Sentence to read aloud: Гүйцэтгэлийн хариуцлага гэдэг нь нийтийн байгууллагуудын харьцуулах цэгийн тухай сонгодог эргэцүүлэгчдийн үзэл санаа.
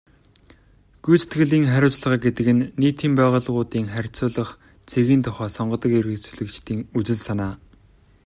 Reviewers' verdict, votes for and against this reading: accepted, 2, 0